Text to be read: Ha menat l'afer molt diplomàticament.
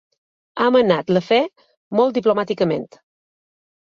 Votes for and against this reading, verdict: 3, 1, accepted